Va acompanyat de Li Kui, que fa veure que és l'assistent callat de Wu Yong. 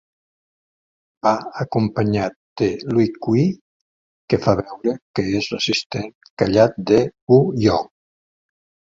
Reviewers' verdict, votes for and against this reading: accepted, 3, 1